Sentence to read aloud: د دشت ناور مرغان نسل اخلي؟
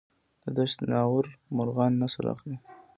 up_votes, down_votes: 3, 1